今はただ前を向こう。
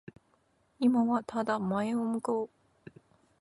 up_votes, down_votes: 2, 0